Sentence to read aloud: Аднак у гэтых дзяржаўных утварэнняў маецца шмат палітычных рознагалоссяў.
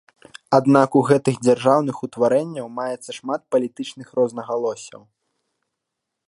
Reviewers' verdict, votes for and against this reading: accepted, 2, 0